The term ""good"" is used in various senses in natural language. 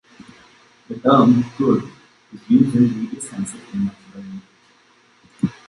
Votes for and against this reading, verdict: 0, 2, rejected